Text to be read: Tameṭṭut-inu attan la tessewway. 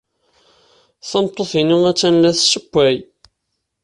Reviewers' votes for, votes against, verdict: 2, 0, accepted